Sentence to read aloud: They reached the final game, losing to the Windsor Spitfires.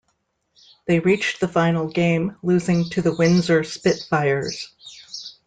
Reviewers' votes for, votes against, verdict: 2, 0, accepted